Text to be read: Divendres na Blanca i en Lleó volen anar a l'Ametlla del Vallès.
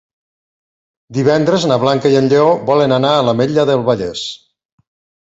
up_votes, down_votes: 4, 0